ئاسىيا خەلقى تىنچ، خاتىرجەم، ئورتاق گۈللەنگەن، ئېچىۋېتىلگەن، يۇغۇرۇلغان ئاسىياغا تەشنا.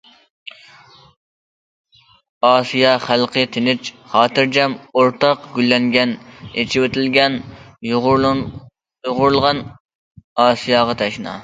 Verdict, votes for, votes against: rejected, 1, 2